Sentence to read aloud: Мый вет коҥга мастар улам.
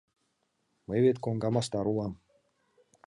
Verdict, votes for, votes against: accepted, 2, 0